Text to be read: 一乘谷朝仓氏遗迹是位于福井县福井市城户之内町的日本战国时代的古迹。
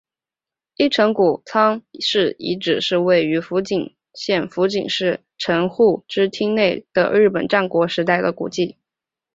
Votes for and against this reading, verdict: 2, 1, accepted